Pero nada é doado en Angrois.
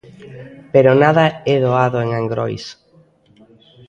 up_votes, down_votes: 2, 1